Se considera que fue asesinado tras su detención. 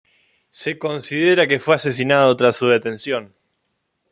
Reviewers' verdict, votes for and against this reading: accepted, 2, 0